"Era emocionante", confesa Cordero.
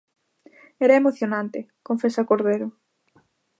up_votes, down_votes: 2, 0